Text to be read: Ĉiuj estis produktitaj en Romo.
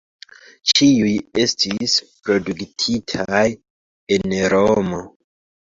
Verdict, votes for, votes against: rejected, 1, 2